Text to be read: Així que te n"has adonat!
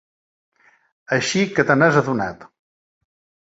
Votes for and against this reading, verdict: 2, 0, accepted